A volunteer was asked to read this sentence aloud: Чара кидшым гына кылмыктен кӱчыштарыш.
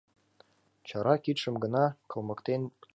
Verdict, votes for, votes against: rejected, 0, 2